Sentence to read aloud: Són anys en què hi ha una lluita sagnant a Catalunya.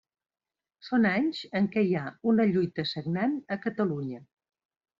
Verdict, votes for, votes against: accepted, 3, 0